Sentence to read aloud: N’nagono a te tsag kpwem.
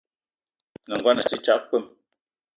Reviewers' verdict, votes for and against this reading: accepted, 2, 0